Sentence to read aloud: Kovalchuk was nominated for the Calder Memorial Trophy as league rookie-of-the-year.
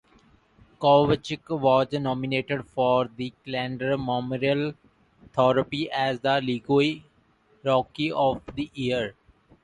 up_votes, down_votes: 0, 3